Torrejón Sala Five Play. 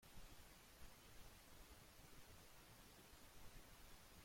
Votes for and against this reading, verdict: 0, 2, rejected